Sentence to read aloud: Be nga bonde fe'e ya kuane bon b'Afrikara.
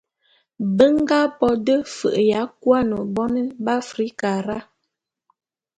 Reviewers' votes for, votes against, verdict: 1, 2, rejected